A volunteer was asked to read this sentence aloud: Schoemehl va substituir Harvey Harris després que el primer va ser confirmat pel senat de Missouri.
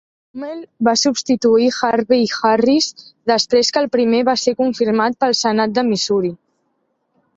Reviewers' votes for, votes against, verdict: 2, 3, rejected